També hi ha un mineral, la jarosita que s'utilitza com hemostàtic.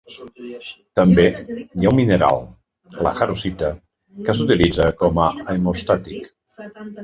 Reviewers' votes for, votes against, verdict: 0, 2, rejected